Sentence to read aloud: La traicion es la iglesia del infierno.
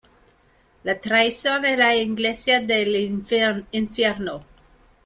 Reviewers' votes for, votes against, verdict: 0, 2, rejected